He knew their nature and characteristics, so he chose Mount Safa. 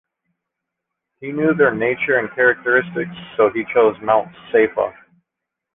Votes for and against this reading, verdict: 2, 1, accepted